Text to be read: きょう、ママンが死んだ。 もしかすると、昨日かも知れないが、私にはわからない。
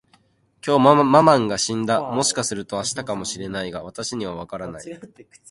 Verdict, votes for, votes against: rejected, 0, 2